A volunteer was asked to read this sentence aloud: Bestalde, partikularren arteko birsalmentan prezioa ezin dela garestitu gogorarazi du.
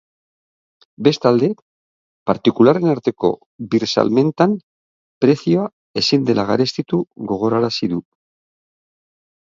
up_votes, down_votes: 9, 3